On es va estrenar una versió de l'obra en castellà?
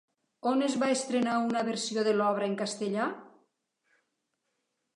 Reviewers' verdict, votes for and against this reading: accepted, 3, 0